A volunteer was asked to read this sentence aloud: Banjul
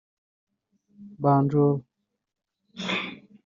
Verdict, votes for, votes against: rejected, 1, 2